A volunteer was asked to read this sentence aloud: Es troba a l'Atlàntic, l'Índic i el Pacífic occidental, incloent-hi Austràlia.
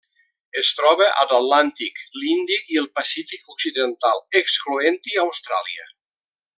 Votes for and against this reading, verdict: 0, 2, rejected